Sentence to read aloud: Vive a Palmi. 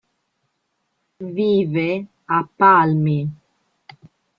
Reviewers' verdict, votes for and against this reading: accepted, 2, 0